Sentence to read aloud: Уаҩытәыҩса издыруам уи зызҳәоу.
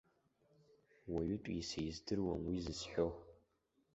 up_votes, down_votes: 0, 2